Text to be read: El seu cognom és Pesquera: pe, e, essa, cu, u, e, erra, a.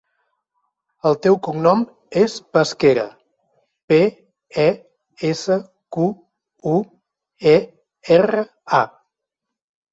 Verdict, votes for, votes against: rejected, 0, 2